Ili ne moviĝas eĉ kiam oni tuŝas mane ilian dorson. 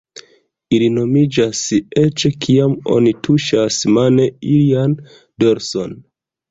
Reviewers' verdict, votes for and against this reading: rejected, 1, 2